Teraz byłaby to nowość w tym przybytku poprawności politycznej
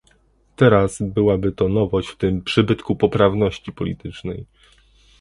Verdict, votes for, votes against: accepted, 2, 0